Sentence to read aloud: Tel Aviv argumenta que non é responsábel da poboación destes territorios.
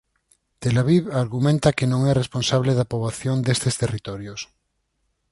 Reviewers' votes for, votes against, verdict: 0, 4, rejected